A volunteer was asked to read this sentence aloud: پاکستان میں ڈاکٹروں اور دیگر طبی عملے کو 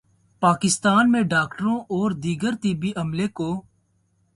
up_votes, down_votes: 2, 0